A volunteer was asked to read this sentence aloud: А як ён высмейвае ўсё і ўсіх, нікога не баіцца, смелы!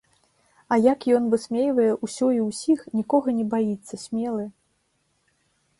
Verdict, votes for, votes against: accepted, 2, 0